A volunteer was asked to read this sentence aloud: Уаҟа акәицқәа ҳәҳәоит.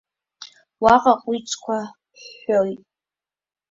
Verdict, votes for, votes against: accepted, 2, 1